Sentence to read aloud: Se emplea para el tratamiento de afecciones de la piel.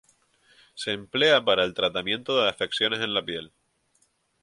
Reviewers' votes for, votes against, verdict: 2, 4, rejected